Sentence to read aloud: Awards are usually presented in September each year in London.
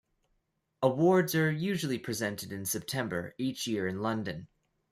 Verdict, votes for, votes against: accepted, 2, 0